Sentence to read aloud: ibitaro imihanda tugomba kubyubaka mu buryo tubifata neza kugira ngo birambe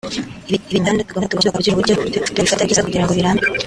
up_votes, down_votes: 1, 3